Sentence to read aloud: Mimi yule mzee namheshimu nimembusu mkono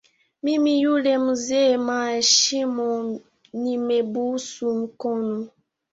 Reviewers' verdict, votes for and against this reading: rejected, 0, 2